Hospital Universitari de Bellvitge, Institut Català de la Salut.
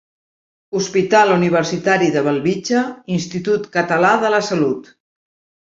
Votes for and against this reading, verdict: 1, 2, rejected